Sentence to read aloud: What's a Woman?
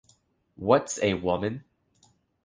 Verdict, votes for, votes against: rejected, 1, 2